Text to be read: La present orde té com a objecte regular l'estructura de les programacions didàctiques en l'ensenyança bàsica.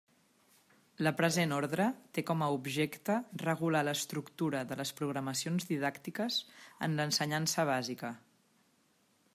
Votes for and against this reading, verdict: 2, 1, accepted